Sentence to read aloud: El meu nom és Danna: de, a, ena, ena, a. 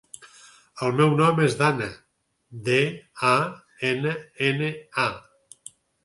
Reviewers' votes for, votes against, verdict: 6, 0, accepted